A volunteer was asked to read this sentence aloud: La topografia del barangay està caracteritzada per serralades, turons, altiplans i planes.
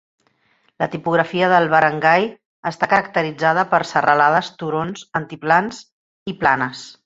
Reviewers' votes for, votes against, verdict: 0, 2, rejected